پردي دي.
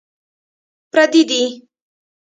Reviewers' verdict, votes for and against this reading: rejected, 1, 2